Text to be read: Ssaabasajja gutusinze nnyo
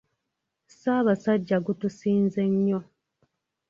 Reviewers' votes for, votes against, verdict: 2, 0, accepted